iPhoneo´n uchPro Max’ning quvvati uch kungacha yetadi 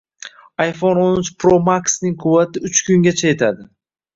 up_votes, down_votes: 2, 0